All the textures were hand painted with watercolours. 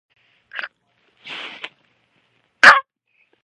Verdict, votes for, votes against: rejected, 0, 2